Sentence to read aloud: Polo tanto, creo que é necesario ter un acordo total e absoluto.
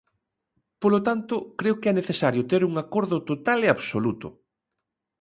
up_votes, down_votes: 2, 0